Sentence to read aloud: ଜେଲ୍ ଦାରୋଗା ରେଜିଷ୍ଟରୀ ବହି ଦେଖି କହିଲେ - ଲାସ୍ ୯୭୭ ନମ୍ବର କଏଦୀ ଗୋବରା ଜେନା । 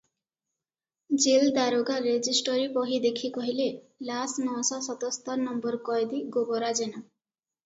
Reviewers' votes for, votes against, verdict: 0, 2, rejected